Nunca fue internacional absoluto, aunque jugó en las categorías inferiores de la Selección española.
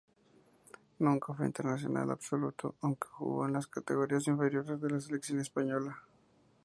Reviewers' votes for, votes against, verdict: 2, 2, rejected